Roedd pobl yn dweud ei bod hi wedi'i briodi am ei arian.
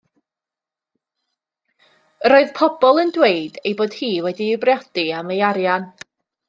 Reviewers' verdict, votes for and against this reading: rejected, 0, 2